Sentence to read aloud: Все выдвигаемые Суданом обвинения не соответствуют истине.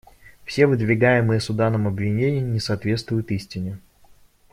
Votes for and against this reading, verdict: 0, 2, rejected